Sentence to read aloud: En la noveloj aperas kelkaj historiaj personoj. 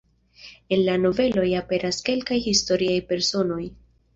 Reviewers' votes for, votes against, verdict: 2, 0, accepted